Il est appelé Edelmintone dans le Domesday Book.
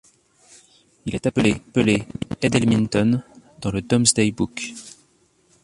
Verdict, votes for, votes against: rejected, 0, 2